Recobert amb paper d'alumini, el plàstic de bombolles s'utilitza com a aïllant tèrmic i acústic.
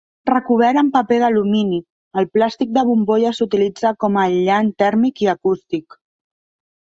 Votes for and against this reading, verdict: 2, 0, accepted